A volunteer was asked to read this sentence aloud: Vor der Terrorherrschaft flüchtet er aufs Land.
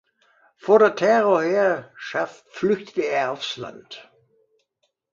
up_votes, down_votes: 2, 0